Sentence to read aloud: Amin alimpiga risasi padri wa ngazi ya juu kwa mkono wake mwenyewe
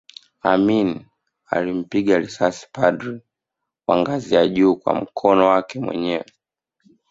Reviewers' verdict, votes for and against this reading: accepted, 2, 0